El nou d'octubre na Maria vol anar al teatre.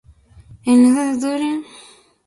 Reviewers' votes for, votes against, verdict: 1, 2, rejected